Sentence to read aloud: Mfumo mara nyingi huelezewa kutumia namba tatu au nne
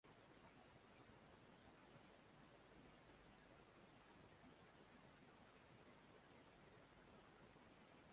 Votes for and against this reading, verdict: 0, 2, rejected